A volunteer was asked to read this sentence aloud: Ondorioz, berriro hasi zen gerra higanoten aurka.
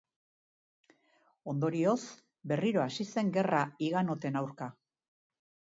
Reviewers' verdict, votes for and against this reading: accepted, 9, 0